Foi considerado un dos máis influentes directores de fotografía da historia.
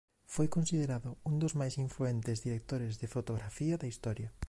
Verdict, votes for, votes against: accepted, 2, 0